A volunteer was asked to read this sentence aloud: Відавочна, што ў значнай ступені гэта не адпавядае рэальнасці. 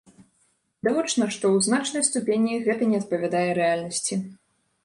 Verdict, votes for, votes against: rejected, 1, 2